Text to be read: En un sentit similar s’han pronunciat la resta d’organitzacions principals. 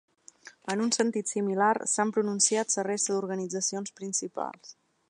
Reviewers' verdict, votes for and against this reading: rejected, 0, 2